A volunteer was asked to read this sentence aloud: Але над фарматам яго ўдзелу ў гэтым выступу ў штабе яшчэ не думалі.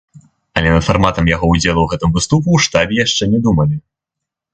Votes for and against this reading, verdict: 0, 3, rejected